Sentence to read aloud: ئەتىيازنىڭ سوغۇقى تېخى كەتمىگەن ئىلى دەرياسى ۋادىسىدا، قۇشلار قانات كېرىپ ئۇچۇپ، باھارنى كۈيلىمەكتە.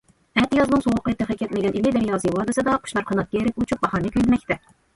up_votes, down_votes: 2, 0